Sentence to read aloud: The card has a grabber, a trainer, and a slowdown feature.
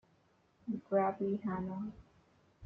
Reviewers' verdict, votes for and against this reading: rejected, 1, 2